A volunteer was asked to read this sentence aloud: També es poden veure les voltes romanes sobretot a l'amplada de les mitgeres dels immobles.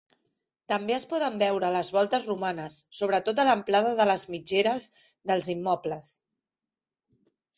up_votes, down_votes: 3, 0